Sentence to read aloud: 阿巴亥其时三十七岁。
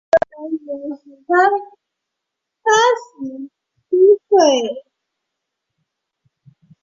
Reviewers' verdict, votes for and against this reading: rejected, 0, 4